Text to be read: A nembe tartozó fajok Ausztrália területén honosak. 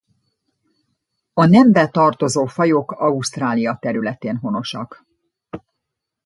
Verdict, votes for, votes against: accepted, 2, 0